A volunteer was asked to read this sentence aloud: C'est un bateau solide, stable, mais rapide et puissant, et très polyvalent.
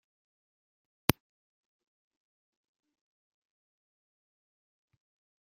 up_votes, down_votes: 1, 2